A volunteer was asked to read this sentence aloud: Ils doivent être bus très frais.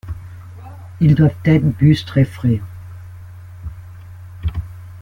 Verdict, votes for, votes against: rejected, 1, 2